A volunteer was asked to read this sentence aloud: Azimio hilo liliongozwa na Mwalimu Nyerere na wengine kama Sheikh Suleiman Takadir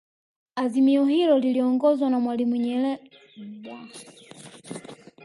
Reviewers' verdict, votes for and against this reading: rejected, 1, 2